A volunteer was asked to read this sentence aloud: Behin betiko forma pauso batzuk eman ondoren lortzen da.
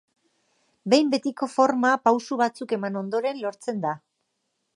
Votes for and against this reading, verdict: 2, 0, accepted